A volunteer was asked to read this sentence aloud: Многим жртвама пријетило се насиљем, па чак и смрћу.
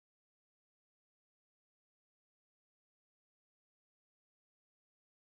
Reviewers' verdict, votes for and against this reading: rejected, 0, 2